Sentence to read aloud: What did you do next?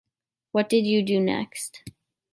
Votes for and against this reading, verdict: 1, 2, rejected